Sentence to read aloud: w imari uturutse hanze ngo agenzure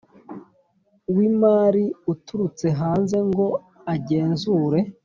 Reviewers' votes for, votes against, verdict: 2, 1, accepted